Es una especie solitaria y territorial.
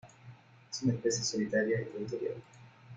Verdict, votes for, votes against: rejected, 1, 2